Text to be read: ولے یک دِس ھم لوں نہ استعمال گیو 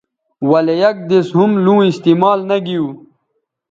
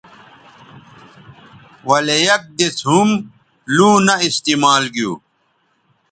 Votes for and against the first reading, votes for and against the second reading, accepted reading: 1, 2, 2, 0, second